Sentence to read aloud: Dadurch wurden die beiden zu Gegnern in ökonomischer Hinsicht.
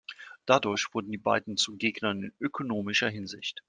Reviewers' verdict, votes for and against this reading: accepted, 2, 0